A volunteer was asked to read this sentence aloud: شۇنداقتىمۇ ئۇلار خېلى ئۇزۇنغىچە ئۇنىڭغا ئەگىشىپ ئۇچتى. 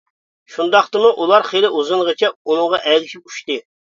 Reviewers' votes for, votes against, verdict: 2, 0, accepted